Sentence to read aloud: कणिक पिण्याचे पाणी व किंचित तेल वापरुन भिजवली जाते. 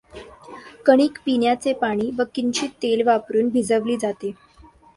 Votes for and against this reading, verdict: 2, 0, accepted